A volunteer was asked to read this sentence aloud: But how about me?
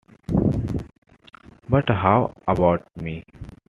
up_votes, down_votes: 2, 1